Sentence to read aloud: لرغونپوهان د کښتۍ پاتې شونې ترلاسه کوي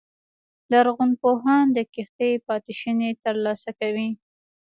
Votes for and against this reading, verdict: 1, 2, rejected